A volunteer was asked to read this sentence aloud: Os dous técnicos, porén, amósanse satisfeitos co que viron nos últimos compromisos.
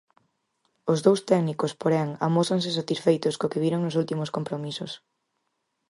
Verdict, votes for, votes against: accepted, 4, 0